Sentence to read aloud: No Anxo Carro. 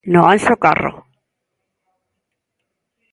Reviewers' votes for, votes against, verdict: 2, 0, accepted